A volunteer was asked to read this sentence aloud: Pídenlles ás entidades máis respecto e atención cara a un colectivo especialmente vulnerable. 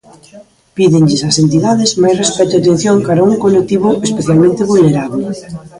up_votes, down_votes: 0, 2